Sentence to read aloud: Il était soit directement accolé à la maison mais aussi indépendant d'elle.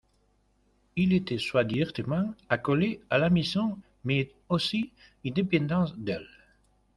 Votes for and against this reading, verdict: 0, 2, rejected